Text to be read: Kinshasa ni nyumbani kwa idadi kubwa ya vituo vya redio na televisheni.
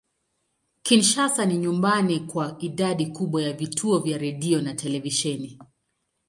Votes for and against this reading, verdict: 2, 0, accepted